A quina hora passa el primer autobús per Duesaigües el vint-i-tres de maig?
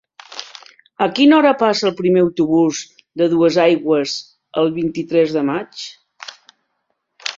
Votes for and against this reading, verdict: 1, 2, rejected